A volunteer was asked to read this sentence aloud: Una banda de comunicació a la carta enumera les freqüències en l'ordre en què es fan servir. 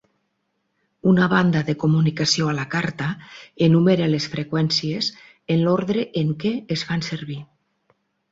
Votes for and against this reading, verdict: 6, 0, accepted